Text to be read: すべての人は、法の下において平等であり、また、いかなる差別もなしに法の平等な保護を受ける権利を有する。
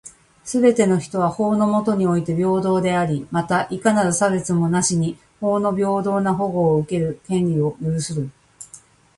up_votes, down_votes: 2, 1